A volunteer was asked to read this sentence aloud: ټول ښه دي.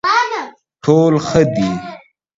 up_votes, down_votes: 0, 2